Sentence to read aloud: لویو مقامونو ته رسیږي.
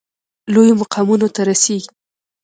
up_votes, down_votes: 2, 0